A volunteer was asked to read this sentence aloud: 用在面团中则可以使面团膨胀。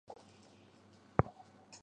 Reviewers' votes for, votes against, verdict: 0, 2, rejected